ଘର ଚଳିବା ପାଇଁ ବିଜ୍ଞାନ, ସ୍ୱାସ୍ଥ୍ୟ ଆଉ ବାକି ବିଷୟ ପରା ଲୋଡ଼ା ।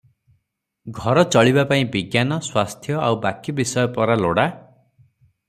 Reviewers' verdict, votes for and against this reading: accepted, 3, 0